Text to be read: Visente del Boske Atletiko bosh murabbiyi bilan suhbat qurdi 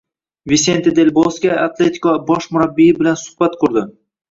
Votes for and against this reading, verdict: 1, 2, rejected